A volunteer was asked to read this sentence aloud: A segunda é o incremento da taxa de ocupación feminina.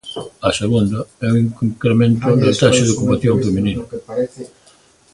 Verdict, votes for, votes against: rejected, 0, 2